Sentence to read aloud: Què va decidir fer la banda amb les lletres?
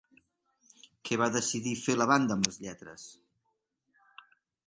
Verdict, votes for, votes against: accepted, 3, 0